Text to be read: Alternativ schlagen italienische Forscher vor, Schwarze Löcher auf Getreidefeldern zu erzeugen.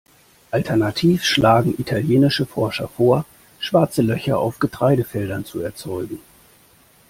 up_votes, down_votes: 2, 0